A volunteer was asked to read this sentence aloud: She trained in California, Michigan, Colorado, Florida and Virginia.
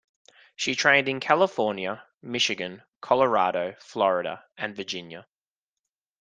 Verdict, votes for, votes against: accepted, 2, 0